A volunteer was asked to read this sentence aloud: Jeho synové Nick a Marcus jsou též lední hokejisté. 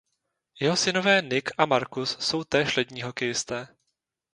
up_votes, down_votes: 0, 2